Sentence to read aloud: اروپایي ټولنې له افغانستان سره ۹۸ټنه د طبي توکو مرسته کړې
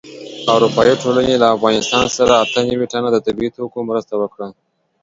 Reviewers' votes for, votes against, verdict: 0, 2, rejected